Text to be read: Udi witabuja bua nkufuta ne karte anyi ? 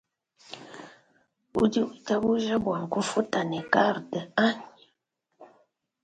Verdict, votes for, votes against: accepted, 2, 0